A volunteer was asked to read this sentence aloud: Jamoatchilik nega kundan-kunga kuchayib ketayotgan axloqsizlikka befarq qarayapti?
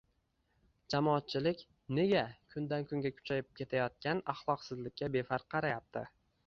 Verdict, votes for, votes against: accepted, 2, 0